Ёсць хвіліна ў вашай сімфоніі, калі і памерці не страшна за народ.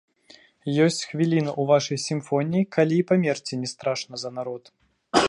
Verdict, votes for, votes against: rejected, 1, 2